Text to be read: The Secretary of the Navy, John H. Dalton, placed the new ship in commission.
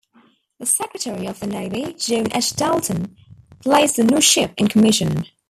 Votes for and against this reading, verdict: 0, 2, rejected